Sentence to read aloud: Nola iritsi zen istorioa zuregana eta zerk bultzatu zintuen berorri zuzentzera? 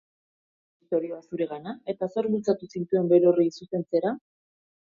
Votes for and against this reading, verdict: 0, 2, rejected